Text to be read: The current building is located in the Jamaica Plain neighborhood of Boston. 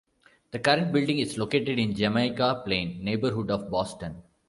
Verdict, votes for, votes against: rejected, 0, 2